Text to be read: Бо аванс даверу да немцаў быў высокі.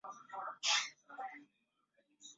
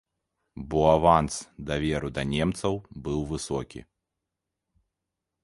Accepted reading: second